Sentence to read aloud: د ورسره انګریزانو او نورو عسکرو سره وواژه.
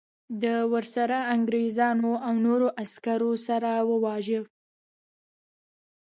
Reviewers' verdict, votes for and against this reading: accepted, 2, 1